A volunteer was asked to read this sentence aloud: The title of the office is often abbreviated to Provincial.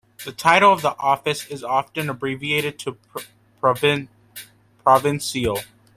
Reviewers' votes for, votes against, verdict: 0, 2, rejected